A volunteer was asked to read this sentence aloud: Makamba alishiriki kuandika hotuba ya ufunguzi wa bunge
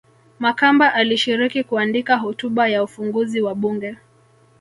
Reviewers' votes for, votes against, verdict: 2, 1, accepted